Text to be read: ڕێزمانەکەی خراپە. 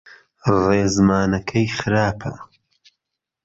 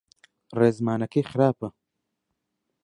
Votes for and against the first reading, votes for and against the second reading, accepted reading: 1, 2, 3, 0, second